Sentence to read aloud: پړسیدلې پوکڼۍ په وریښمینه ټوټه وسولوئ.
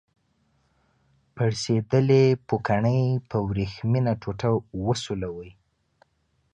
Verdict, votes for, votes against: accepted, 2, 0